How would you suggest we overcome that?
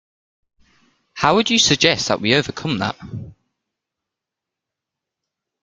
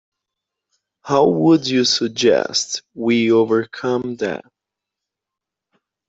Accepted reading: second